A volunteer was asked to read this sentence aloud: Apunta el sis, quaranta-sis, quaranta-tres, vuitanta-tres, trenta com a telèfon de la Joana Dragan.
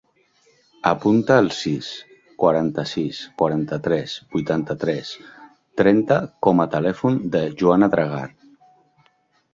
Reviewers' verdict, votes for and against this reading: rejected, 0, 2